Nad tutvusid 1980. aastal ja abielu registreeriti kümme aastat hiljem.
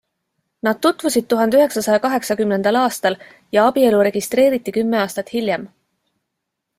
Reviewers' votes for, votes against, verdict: 0, 2, rejected